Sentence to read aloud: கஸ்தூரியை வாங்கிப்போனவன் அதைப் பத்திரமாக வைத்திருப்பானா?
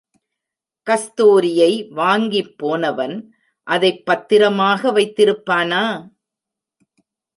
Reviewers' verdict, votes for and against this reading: accepted, 2, 0